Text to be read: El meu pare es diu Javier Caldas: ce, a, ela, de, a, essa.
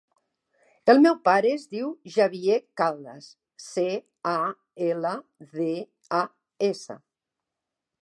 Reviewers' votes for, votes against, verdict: 2, 0, accepted